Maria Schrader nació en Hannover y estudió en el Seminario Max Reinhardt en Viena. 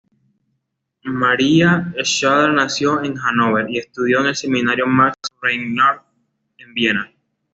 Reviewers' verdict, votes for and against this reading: accepted, 2, 1